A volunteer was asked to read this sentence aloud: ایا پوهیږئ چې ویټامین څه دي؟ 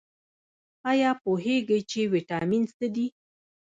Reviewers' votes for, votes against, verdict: 0, 2, rejected